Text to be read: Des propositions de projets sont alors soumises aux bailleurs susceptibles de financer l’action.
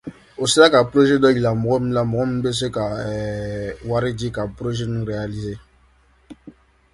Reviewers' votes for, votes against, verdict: 0, 2, rejected